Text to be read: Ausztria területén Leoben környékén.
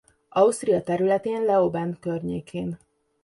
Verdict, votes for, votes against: accepted, 2, 1